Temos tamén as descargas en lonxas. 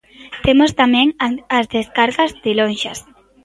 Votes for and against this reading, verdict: 0, 2, rejected